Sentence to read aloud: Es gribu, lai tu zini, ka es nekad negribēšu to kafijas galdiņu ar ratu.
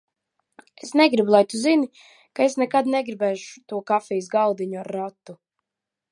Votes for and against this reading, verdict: 0, 4, rejected